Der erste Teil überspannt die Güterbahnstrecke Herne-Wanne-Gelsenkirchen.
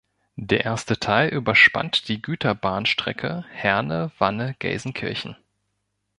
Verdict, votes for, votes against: accepted, 2, 0